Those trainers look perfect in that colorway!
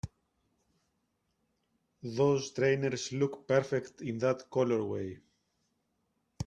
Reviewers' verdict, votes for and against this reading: rejected, 0, 2